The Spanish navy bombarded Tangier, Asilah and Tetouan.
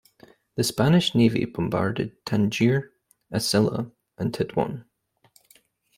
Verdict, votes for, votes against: accepted, 2, 0